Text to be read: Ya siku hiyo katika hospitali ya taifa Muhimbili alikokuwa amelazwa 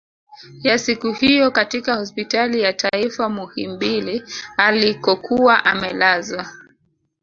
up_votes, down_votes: 0, 3